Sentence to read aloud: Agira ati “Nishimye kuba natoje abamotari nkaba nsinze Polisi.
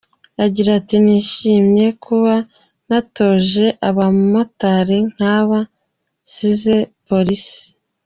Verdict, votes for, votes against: accepted, 2, 0